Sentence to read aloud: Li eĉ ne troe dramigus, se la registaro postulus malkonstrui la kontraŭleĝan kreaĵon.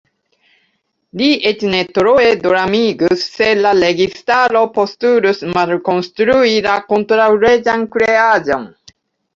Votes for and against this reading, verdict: 0, 2, rejected